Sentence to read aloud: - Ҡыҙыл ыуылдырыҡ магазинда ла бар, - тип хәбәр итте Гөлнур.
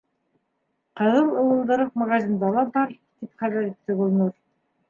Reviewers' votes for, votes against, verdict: 2, 0, accepted